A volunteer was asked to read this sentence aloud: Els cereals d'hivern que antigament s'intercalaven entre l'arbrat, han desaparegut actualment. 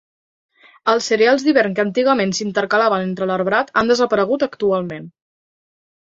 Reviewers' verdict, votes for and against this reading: accepted, 2, 0